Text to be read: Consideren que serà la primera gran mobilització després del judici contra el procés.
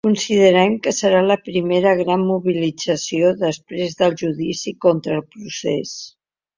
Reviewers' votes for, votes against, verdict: 2, 0, accepted